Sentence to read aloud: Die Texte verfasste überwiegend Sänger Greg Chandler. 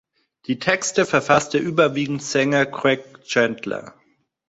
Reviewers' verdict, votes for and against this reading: accepted, 2, 0